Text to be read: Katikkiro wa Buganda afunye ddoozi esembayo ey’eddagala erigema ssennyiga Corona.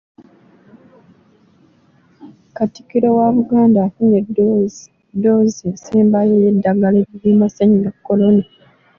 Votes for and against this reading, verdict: 2, 0, accepted